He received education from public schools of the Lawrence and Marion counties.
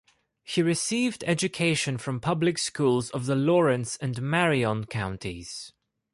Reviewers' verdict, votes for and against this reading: accepted, 2, 0